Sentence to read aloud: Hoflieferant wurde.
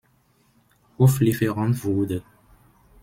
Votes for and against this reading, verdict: 2, 0, accepted